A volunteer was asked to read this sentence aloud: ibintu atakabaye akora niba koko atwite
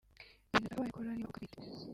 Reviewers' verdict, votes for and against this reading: rejected, 0, 2